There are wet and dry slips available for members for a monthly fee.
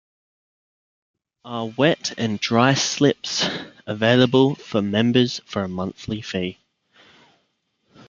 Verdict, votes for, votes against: rejected, 1, 2